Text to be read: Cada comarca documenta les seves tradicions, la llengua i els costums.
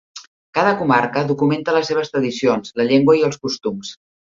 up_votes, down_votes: 3, 0